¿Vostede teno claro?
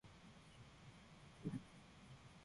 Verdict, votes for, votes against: rejected, 1, 2